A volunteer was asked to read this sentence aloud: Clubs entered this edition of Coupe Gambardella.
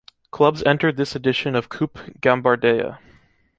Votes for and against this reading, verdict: 0, 2, rejected